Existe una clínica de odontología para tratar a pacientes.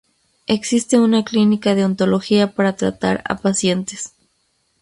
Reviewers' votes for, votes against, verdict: 0, 2, rejected